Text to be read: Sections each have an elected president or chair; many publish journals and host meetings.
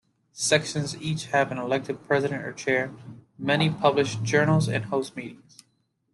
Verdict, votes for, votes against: accepted, 2, 0